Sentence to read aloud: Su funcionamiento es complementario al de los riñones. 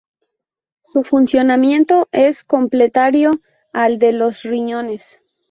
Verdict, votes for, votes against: rejected, 0, 2